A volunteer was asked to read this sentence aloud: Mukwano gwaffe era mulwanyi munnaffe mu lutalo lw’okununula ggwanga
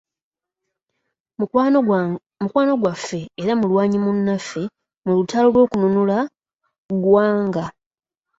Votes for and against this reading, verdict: 0, 2, rejected